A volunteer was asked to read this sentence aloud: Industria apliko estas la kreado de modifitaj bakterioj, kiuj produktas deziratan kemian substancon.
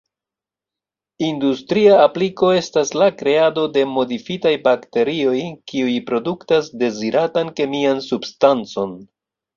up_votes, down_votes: 2, 0